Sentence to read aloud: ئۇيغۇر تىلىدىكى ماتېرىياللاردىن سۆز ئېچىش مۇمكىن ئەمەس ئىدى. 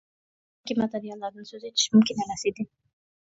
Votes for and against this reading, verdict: 0, 2, rejected